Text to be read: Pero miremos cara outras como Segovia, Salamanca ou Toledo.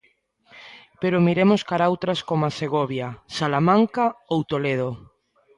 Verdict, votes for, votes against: accepted, 2, 0